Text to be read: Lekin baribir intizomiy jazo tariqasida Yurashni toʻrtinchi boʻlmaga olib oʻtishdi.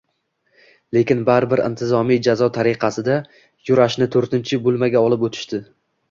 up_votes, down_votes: 1, 2